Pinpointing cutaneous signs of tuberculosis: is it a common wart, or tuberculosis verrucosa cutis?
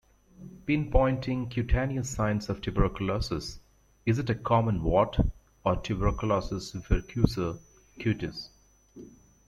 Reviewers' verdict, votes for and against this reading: accepted, 2, 0